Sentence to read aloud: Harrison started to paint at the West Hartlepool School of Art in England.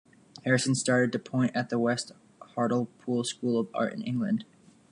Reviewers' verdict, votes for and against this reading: accepted, 2, 1